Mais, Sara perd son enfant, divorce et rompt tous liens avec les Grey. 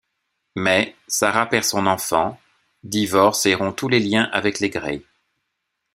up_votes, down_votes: 0, 2